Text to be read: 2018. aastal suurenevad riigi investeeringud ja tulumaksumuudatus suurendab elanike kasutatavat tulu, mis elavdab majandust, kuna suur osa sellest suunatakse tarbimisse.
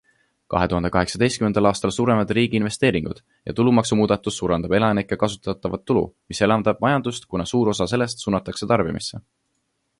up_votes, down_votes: 0, 2